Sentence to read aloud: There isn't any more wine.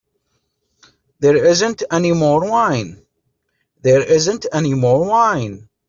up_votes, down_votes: 1, 2